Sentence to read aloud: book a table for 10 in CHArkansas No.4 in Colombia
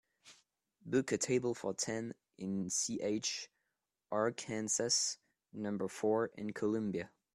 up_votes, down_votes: 0, 2